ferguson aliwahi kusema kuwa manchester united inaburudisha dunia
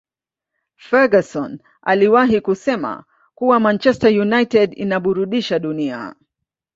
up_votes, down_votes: 0, 2